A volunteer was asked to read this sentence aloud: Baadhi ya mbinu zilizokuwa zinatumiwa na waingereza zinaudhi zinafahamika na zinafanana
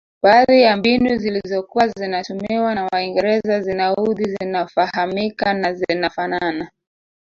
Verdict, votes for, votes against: accepted, 2, 0